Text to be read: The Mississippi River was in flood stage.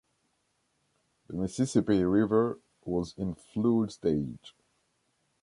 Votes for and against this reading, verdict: 1, 2, rejected